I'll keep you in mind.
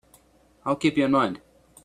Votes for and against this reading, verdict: 2, 0, accepted